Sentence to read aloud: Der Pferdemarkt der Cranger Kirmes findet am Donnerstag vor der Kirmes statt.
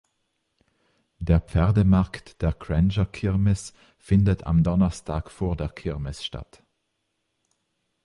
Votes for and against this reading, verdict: 0, 2, rejected